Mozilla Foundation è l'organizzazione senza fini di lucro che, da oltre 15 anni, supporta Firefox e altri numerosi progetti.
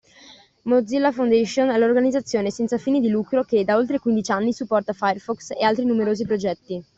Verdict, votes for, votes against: rejected, 0, 2